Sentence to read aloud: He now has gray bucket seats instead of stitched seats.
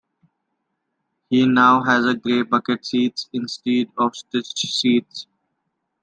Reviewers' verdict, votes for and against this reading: accepted, 2, 1